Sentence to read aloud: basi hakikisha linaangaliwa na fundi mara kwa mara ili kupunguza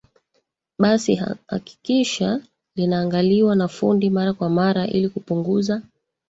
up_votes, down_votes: 0, 2